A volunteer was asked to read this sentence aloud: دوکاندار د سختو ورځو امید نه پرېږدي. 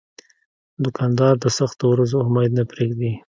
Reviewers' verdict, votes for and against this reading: accepted, 2, 0